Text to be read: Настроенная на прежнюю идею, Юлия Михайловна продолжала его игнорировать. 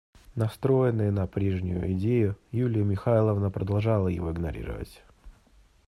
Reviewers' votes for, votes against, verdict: 3, 0, accepted